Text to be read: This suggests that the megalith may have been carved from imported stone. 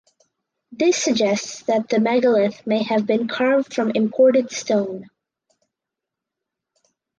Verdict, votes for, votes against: accepted, 2, 0